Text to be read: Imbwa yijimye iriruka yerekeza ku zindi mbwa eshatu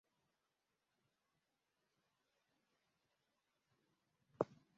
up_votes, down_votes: 0, 2